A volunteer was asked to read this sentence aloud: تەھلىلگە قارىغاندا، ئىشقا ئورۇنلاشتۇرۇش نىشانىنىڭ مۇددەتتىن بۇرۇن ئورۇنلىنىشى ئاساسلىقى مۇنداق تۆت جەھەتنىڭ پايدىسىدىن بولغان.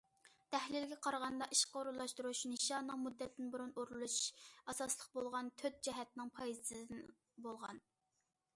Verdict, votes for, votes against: rejected, 0, 2